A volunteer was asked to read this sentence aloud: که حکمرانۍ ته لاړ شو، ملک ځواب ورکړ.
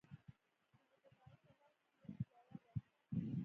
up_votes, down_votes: 0, 2